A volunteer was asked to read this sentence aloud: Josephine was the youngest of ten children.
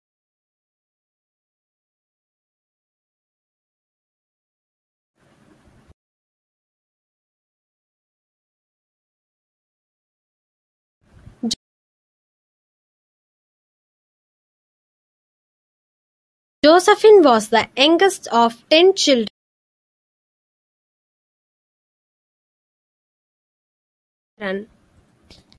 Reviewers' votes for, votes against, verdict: 0, 2, rejected